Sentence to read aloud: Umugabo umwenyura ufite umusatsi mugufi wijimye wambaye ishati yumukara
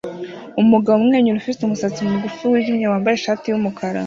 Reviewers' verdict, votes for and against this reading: accepted, 2, 0